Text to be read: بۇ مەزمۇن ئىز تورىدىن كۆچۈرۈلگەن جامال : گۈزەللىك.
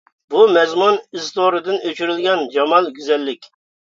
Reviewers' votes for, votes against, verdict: 1, 2, rejected